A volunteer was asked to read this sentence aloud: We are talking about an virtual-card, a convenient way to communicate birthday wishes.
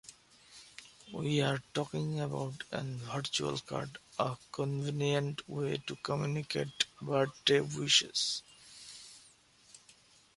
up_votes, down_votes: 2, 0